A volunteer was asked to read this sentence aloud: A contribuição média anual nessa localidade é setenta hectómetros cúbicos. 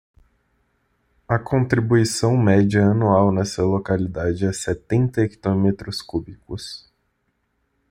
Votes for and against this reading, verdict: 2, 0, accepted